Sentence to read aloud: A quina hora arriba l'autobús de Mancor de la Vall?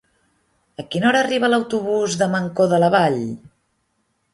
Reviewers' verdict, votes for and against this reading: accepted, 3, 0